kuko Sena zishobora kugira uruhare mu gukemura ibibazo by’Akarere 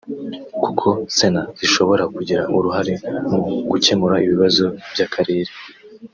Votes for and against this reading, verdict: 3, 0, accepted